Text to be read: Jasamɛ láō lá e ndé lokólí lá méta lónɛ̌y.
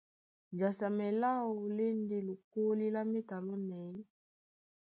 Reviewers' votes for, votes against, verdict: 2, 0, accepted